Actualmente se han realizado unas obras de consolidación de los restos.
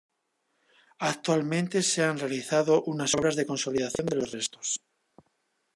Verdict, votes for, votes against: rejected, 1, 2